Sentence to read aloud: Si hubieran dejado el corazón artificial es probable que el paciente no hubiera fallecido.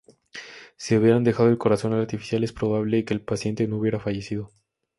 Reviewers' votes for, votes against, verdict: 2, 0, accepted